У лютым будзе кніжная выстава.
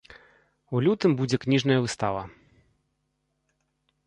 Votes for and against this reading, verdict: 2, 0, accepted